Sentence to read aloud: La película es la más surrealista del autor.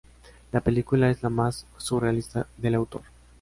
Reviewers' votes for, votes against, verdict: 2, 1, accepted